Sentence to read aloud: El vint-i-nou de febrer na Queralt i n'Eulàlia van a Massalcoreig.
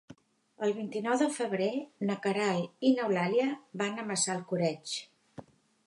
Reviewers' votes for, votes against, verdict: 3, 0, accepted